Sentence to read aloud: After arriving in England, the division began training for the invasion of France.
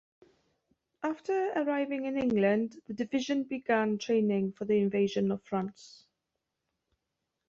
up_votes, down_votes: 2, 0